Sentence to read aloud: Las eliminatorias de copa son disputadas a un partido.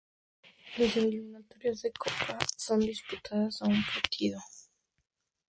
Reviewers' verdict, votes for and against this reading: rejected, 0, 2